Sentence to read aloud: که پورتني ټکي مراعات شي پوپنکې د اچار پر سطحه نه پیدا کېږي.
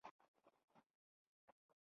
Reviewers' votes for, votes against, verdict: 0, 2, rejected